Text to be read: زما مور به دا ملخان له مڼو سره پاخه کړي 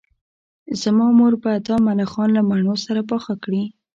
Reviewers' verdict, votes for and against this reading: accepted, 2, 0